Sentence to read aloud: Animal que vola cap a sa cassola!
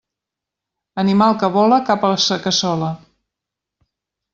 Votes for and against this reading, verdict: 0, 2, rejected